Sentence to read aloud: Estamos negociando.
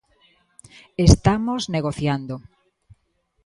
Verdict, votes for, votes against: accepted, 2, 0